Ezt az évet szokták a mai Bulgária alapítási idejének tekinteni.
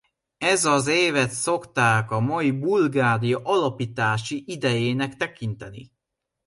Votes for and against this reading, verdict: 0, 2, rejected